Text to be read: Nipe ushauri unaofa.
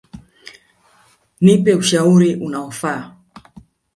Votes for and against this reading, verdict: 3, 1, accepted